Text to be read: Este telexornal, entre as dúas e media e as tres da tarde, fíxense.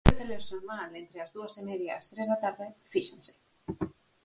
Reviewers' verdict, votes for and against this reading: rejected, 0, 4